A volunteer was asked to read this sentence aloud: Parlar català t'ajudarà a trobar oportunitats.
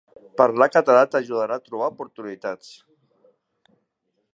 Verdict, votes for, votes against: accepted, 3, 0